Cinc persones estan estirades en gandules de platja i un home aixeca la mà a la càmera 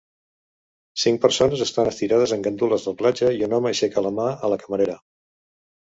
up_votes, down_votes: 1, 2